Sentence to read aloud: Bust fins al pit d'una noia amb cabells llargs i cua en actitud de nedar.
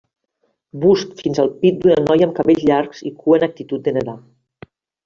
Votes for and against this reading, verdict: 1, 2, rejected